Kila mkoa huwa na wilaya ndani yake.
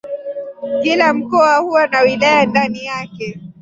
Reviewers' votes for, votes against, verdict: 0, 2, rejected